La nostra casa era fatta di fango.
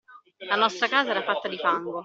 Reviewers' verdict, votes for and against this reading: accepted, 2, 0